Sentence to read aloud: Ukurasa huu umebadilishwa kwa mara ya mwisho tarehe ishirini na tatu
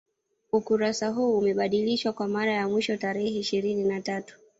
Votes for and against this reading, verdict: 1, 2, rejected